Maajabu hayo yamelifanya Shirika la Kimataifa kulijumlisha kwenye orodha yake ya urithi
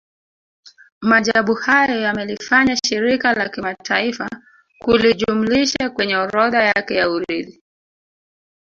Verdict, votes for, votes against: accepted, 2, 0